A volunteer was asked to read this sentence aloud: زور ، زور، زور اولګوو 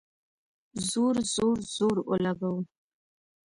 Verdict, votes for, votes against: accepted, 2, 1